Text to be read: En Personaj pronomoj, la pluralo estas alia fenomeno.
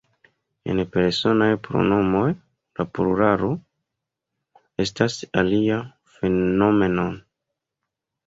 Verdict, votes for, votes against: rejected, 0, 3